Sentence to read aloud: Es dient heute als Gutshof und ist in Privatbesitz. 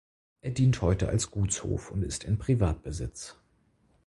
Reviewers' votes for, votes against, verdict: 2, 4, rejected